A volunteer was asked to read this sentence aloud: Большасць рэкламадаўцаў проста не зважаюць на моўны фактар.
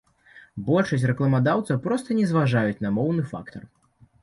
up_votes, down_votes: 2, 1